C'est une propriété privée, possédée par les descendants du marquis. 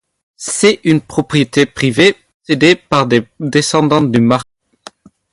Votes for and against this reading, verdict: 2, 0, accepted